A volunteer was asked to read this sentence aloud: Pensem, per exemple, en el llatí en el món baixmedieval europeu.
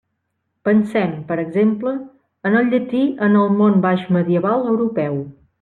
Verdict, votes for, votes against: accepted, 2, 1